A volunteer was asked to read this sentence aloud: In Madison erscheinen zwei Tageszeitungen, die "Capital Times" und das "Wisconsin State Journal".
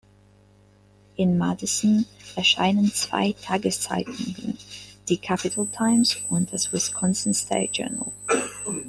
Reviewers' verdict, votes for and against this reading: rejected, 1, 2